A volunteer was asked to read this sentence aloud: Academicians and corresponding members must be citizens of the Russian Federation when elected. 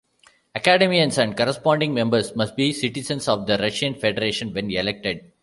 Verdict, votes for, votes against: rejected, 0, 2